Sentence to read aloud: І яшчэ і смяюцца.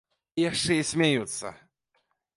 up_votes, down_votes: 2, 0